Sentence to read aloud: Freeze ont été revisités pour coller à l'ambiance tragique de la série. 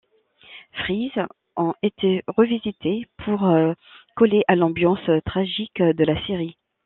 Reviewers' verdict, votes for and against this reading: rejected, 1, 2